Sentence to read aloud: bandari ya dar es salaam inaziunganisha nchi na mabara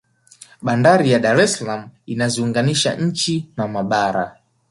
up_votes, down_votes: 2, 0